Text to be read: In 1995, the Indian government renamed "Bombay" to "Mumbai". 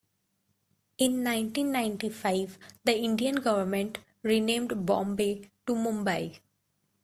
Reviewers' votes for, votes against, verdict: 0, 2, rejected